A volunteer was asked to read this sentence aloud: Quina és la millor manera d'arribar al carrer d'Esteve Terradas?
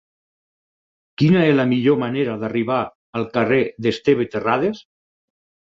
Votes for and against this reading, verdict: 2, 4, rejected